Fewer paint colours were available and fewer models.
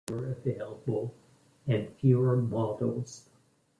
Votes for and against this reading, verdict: 0, 2, rejected